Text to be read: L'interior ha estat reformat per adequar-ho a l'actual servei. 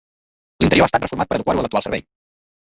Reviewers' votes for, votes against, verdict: 0, 2, rejected